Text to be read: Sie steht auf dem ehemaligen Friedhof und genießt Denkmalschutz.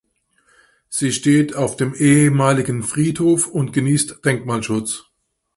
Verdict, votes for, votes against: accepted, 2, 0